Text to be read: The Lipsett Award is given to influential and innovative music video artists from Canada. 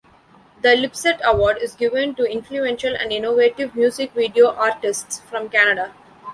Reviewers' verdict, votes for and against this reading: accepted, 2, 0